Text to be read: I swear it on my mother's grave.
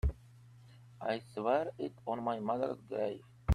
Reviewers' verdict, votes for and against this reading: rejected, 1, 2